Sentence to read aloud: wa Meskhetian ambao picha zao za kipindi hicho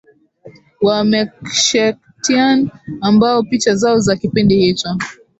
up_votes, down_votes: 0, 2